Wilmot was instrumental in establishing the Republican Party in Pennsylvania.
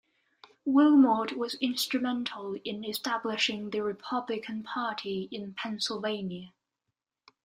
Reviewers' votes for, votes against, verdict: 2, 0, accepted